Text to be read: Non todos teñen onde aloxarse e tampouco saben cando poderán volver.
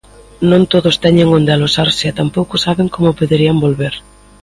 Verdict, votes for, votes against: rejected, 0, 2